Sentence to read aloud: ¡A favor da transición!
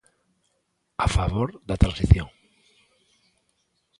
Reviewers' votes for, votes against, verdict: 2, 0, accepted